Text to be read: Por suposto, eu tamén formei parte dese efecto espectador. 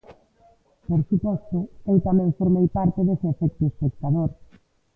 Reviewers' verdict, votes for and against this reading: accepted, 2, 1